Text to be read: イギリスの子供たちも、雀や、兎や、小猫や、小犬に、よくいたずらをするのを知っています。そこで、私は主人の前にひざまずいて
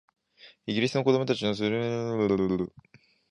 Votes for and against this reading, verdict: 1, 2, rejected